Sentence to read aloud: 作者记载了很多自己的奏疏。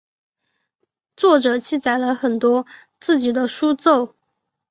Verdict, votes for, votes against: rejected, 0, 4